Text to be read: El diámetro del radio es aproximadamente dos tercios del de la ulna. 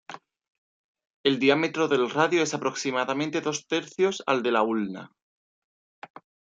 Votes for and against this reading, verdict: 1, 2, rejected